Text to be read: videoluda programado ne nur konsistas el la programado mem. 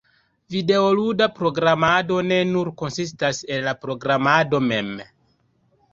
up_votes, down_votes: 2, 1